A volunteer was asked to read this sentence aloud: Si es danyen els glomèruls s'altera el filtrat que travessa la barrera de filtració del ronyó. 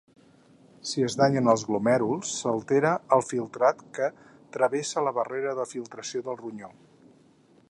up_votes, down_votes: 4, 0